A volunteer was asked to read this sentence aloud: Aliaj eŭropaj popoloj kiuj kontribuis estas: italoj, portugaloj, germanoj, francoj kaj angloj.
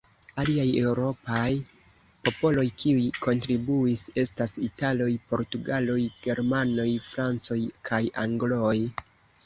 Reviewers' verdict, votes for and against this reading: rejected, 0, 2